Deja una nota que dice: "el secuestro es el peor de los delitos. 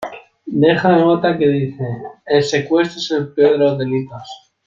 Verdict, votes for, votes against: rejected, 1, 2